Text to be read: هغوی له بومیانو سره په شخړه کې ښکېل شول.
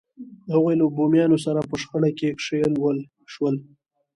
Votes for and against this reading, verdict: 2, 0, accepted